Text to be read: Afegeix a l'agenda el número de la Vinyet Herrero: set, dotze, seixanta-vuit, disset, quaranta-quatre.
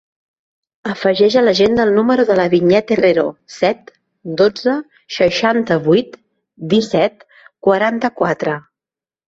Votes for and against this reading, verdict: 4, 0, accepted